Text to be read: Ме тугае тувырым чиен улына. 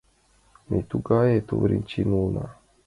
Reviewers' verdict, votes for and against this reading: accepted, 2, 0